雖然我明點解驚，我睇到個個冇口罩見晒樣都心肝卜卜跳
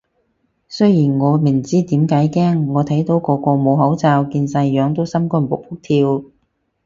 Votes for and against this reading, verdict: 2, 2, rejected